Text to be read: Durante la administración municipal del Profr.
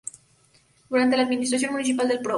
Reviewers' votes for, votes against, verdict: 0, 2, rejected